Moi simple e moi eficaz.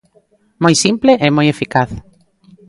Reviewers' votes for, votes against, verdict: 2, 0, accepted